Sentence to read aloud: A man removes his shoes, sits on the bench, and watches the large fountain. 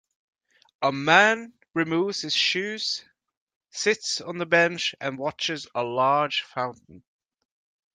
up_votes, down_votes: 2, 4